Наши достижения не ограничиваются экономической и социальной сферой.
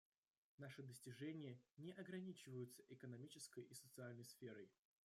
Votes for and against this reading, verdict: 1, 2, rejected